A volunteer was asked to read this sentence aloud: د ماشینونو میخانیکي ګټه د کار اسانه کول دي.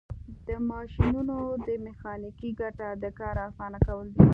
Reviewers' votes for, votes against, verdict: 2, 0, accepted